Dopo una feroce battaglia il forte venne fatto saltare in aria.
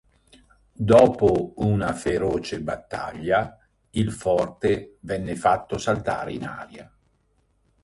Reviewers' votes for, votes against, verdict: 1, 2, rejected